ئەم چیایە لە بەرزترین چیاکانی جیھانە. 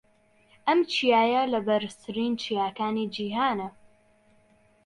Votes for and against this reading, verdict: 2, 0, accepted